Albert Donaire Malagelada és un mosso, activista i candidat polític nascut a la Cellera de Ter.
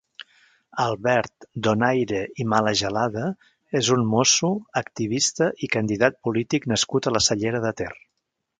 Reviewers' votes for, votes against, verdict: 1, 2, rejected